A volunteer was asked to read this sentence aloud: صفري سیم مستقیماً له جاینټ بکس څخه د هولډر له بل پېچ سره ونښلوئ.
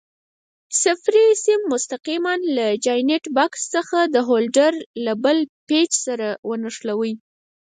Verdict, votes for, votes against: rejected, 0, 4